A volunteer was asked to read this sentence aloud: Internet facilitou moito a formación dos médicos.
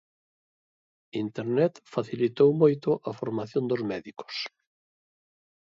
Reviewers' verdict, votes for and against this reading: accepted, 2, 0